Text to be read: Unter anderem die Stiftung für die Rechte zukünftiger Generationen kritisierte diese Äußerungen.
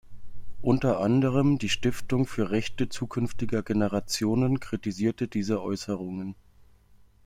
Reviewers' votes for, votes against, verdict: 0, 2, rejected